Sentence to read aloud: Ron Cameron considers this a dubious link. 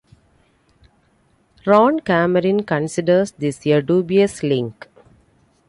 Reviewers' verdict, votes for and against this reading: accepted, 2, 1